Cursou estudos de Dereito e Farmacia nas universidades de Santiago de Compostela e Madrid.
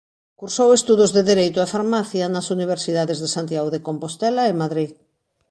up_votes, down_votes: 2, 0